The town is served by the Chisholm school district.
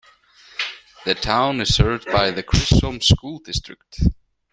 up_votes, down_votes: 2, 0